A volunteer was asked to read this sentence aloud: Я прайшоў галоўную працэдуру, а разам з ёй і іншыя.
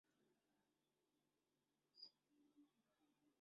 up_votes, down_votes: 0, 3